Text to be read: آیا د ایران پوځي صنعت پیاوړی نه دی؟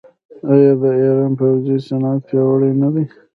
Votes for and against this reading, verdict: 0, 2, rejected